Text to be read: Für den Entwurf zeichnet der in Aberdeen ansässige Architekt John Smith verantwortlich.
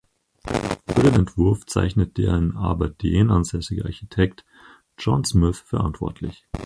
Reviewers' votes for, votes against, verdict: 2, 4, rejected